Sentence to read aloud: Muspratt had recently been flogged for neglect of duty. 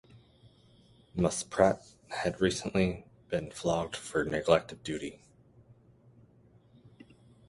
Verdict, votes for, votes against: accepted, 2, 0